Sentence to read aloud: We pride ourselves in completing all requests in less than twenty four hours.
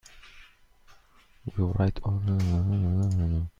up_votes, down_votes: 0, 2